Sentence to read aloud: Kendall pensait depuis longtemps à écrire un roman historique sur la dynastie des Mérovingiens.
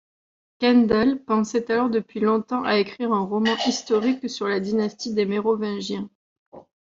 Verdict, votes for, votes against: rejected, 1, 2